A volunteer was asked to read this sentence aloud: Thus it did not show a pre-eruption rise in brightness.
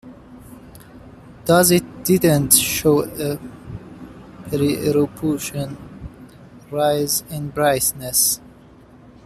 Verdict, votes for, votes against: rejected, 0, 2